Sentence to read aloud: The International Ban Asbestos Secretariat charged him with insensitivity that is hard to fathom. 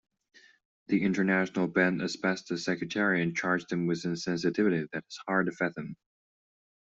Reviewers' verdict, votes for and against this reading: rejected, 0, 2